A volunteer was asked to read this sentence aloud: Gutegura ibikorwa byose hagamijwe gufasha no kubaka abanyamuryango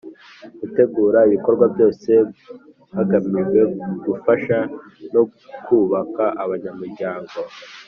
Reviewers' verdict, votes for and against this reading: accepted, 3, 1